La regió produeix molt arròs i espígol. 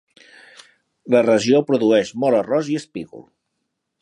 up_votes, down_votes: 3, 0